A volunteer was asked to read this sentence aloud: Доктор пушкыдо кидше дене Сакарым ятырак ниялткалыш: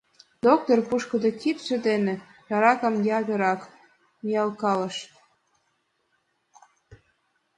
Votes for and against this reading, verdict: 1, 2, rejected